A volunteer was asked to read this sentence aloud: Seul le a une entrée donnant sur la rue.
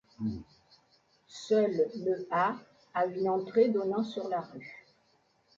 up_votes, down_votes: 0, 3